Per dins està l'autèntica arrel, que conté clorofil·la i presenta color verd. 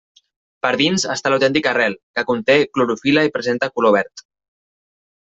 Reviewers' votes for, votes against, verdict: 2, 0, accepted